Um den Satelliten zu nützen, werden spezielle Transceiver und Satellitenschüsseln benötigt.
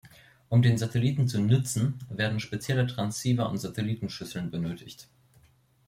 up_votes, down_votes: 2, 0